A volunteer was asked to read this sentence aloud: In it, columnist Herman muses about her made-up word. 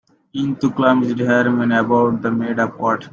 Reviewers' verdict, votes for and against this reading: rejected, 0, 2